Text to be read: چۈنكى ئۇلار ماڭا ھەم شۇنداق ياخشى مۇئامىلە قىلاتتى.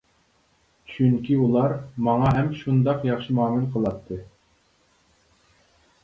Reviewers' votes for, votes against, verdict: 2, 0, accepted